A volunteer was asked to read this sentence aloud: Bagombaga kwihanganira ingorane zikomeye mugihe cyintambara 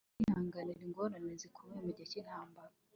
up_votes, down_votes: 2, 1